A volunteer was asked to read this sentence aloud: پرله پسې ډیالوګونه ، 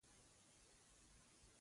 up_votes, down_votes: 0, 2